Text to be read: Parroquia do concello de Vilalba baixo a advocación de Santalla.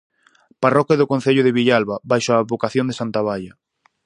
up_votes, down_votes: 0, 4